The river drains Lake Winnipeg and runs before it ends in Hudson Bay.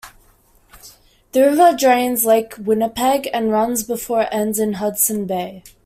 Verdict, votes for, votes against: accepted, 2, 0